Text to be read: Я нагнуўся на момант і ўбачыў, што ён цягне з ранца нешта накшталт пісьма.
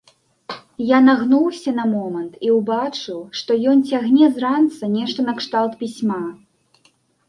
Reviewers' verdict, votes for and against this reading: rejected, 1, 2